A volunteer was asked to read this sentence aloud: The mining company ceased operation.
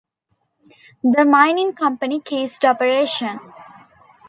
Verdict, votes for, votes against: rejected, 1, 2